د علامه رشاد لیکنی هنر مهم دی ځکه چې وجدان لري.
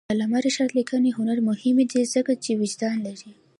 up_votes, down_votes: 2, 0